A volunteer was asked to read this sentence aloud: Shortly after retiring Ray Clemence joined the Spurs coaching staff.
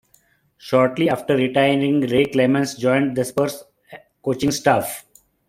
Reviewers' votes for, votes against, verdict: 2, 0, accepted